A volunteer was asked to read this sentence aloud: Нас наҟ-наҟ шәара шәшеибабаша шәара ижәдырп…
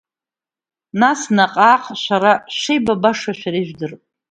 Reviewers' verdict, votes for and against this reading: accepted, 2, 0